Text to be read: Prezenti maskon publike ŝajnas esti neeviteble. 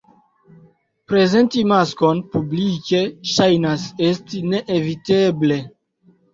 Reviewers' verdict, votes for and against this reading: accepted, 2, 0